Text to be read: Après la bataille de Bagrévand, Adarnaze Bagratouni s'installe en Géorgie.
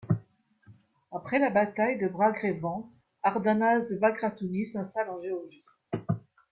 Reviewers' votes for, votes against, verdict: 1, 2, rejected